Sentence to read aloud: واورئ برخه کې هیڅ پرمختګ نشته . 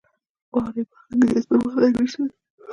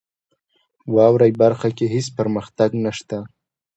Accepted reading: second